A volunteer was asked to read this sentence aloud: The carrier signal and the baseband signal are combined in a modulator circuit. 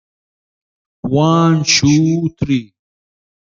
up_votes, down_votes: 0, 2